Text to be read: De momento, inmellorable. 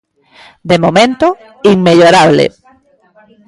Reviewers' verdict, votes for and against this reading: rejected, 1, 2